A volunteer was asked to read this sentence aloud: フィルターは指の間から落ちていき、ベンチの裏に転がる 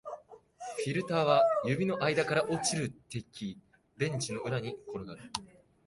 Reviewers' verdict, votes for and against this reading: rejected, 0, 2